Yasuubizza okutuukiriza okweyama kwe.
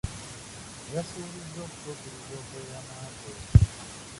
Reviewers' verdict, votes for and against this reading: rejected, 0, 2